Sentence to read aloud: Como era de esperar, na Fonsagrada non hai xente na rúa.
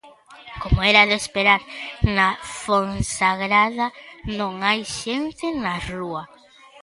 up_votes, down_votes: 0, 2